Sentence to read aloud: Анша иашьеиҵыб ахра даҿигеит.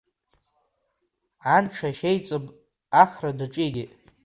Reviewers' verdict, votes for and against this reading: accepted, 2, 1